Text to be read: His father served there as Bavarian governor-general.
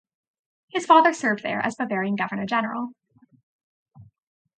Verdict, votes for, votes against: accepted, 2, 0